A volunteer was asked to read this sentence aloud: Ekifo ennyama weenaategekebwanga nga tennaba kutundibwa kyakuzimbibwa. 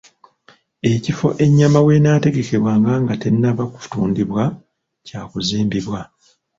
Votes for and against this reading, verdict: 0, 2, rejected